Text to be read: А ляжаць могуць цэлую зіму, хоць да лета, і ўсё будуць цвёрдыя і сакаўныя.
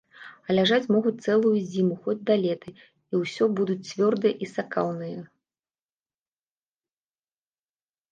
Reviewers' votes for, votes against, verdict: 2, 1, accepted